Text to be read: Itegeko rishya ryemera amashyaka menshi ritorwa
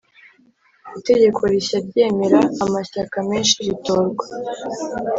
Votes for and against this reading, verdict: 3, 0, accepted